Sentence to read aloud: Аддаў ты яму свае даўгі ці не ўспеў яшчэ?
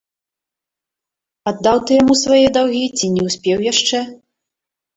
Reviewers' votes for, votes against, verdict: 1, 2, rejected